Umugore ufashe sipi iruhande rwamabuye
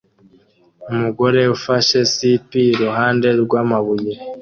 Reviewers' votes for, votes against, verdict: 2, 0, accepted